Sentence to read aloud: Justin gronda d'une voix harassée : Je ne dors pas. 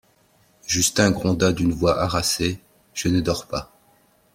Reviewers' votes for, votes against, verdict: 2, 0, accepted